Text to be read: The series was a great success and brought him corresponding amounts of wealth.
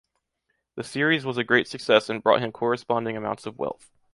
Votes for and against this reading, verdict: 2, 0, accepted